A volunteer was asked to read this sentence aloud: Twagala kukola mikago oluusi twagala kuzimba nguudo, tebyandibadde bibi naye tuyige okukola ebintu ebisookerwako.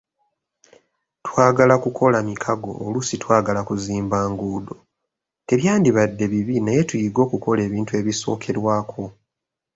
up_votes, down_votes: 2, 0